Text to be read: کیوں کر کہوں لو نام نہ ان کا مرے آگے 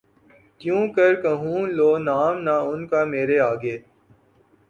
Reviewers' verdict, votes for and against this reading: accepted, 2, 0